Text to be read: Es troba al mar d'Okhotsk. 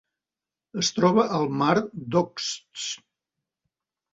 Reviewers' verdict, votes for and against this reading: rejected, 0, 2